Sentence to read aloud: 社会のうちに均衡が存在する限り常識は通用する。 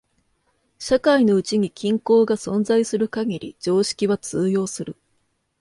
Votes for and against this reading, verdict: 2, 0, accepted